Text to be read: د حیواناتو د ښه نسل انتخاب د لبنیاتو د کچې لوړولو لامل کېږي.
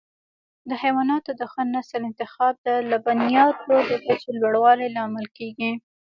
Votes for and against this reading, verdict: 2, 1, accepted